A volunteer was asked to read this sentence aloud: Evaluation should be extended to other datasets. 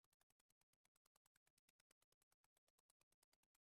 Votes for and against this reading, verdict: 0, 2, rejected